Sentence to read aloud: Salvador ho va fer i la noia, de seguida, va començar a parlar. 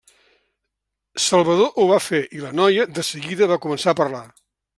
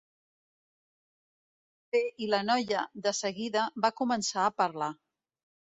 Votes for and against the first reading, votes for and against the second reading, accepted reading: 2, 0, 0, 2, first